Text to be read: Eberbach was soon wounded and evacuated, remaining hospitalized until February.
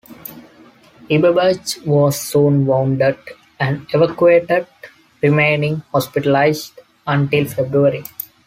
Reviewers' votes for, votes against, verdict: 2, 1, accepted